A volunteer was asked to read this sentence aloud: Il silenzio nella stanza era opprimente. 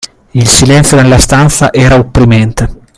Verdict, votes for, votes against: accepted, 2, 0